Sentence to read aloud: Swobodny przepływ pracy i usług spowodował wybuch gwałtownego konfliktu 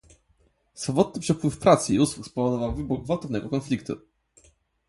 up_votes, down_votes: 0, 2